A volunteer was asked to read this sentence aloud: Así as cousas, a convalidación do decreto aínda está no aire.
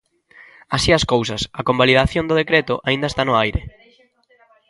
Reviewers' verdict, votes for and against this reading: rejected, 0, 2